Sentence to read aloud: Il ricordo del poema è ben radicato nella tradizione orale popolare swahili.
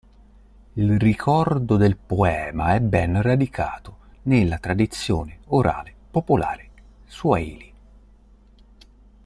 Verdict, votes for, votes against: accepted, 2, 0